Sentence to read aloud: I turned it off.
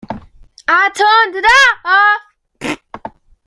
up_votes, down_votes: 1, 2